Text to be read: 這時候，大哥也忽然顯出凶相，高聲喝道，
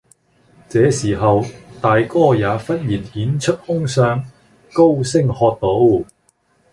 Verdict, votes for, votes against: accepted, 2, 0